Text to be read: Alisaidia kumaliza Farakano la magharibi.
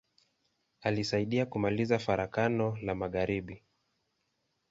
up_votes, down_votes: 2, 0